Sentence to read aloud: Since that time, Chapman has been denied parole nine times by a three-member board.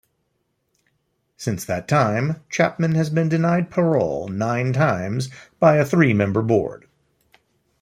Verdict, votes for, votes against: rejected, 0, 2